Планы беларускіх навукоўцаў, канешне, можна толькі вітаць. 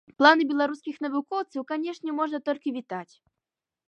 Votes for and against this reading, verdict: 2, 0, accepted